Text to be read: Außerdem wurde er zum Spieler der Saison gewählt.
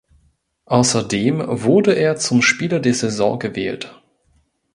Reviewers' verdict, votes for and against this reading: accepted, 2, 0